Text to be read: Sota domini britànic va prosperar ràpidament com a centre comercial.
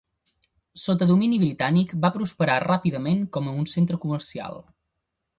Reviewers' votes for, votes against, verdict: 1, 2, rejected